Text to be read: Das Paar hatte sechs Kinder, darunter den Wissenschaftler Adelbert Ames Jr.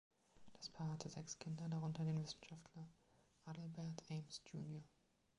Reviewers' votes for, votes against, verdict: 3, 1, accepted